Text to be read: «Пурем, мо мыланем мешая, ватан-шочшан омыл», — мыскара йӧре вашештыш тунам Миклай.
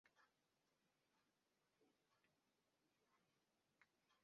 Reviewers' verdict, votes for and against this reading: rejected, 0, 2